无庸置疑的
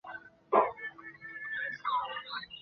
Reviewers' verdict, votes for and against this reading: rejected, 0, 4